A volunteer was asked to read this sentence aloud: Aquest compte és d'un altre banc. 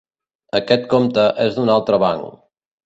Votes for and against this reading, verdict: 3, 0, accepted